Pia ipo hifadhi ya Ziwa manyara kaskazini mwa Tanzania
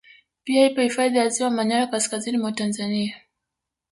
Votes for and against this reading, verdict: 1, 2, rejected